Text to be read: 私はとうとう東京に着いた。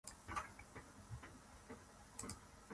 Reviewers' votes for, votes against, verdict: 1, 2, rejected